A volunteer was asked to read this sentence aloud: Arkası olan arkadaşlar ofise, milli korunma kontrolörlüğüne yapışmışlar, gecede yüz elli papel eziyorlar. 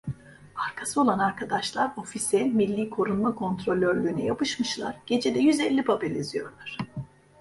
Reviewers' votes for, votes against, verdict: 0, 2, rejected